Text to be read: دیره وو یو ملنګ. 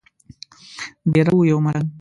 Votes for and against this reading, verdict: 1, 2, rejected